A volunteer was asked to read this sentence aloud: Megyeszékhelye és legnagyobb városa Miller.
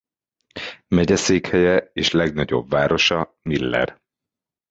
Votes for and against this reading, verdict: 3, 0, accepted